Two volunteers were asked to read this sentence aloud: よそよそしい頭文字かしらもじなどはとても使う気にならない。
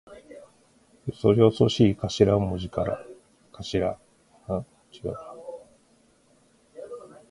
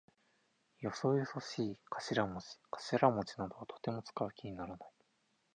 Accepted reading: second